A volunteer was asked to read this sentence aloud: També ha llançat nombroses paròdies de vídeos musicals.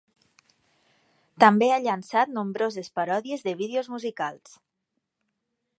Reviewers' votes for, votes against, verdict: 3, 0, accepted